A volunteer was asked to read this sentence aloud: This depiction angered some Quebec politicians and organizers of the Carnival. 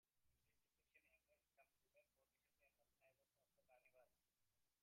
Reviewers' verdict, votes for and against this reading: rejected, 0, 2